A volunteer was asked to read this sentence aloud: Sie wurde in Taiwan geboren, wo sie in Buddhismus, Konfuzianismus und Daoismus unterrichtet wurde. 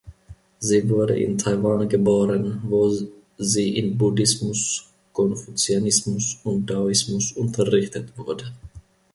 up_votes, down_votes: 2, 1